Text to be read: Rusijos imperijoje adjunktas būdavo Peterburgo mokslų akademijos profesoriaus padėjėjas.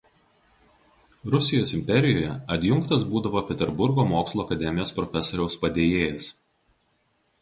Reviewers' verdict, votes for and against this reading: accepted, 2, 0